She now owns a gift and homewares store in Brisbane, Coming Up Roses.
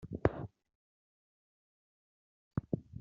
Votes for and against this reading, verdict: 0, 2, rejected